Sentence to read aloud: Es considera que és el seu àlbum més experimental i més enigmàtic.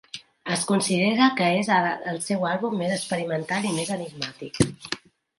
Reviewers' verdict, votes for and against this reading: rejected, 0, 2